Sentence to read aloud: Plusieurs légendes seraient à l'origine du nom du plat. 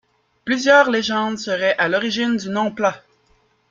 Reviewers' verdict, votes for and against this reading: rejected, 1, 2